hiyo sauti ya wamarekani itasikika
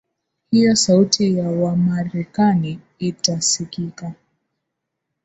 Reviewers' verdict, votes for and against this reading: accepted, 2, 0